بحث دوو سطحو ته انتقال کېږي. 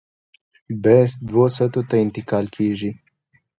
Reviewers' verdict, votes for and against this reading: accepted, 2, 0